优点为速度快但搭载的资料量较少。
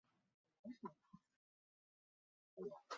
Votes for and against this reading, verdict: 1, 2, rejected